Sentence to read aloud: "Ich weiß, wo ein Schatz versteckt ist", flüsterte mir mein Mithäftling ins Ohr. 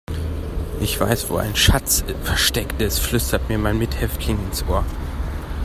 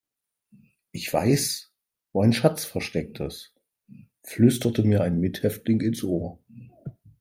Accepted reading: first